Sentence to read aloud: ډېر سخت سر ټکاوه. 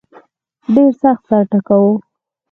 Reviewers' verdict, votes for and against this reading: accepted, 4, 0